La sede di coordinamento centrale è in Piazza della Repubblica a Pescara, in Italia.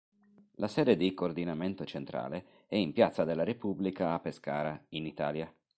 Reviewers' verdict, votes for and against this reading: accepted, 2, 0